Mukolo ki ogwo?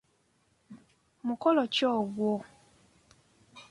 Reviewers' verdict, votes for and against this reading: accepted, 3, 0